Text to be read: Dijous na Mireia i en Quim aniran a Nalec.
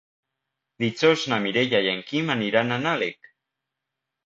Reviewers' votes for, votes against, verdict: 2, 1, accepted